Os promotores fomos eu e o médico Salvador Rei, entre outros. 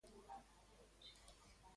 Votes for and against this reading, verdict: 0, 2, rejected